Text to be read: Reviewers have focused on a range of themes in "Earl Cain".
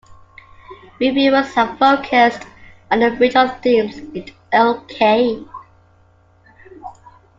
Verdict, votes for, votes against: accepted, 2, 1